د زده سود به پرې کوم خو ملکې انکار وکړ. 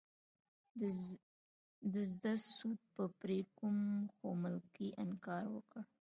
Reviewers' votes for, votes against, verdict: 1, 2, rejected